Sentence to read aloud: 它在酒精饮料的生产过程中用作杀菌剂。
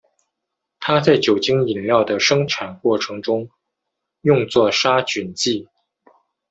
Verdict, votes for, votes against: accepted, 2, 0